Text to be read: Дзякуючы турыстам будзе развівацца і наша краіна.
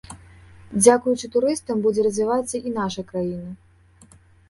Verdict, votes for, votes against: accepted, 2, 0